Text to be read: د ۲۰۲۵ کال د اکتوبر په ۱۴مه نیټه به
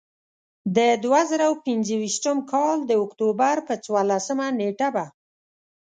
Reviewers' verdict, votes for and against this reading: rejected, 0, 2